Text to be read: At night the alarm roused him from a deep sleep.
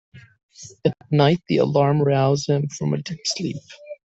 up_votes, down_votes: 1, 2